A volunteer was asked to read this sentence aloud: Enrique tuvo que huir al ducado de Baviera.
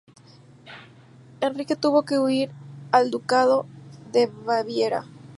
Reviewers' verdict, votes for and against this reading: accepted, 2, 0